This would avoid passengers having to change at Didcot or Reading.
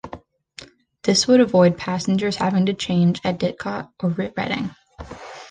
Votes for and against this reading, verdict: 0, 2, rejected